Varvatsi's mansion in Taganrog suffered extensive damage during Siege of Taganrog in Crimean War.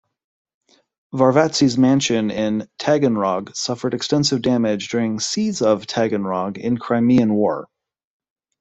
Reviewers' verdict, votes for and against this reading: accepted, 2, 0